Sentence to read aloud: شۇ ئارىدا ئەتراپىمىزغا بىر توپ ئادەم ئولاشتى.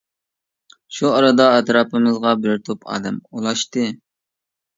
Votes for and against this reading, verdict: 2, 0, accepted